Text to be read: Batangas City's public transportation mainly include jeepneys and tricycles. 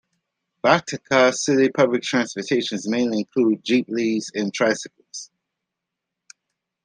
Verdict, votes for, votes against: rejected, 0, 2